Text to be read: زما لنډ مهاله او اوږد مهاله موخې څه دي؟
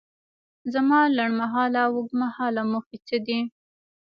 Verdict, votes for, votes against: rejected, 1, 2